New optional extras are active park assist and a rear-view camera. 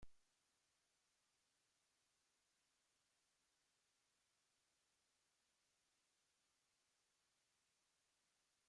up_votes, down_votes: 0, 10